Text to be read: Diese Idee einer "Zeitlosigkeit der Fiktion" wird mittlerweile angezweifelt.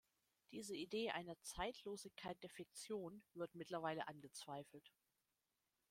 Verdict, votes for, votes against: rejected, 1, 2